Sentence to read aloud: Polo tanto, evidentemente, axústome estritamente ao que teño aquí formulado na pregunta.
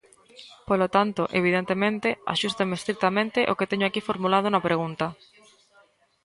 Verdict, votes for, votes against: rejected, 1, 2